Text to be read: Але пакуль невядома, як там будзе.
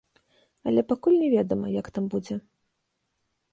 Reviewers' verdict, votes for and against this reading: rejected, 1, 2